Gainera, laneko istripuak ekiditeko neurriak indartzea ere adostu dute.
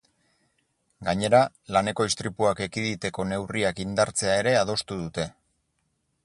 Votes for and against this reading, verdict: 4, 0, accepted